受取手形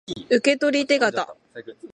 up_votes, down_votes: 2, 0